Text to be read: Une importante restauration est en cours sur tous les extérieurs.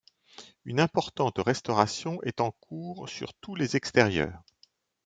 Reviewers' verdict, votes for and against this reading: accepted, 2, 0